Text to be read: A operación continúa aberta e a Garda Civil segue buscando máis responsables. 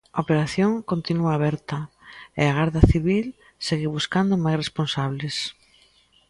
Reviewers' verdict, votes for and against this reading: accepted, 2, 0